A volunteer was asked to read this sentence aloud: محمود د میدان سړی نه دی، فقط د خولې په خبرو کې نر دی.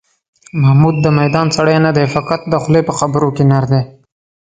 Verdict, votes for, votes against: accepted, 3, 0